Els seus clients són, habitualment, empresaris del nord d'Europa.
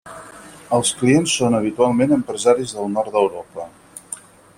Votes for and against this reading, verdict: 0, 4, rejected